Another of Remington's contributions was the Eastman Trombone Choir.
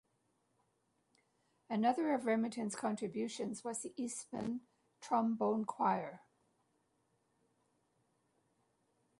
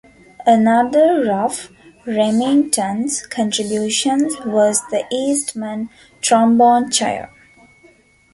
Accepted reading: first